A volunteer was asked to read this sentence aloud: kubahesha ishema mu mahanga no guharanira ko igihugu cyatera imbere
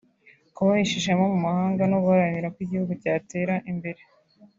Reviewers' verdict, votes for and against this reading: accepted, 3, 0